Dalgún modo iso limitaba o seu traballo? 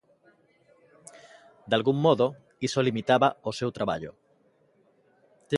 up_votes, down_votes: 2, 0